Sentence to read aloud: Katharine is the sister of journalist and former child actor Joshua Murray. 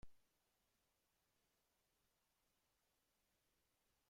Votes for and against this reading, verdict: 0, 2, rejected